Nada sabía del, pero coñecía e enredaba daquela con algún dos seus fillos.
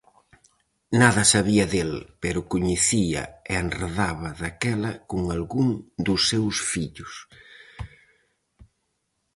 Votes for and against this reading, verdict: 4, 0, accepted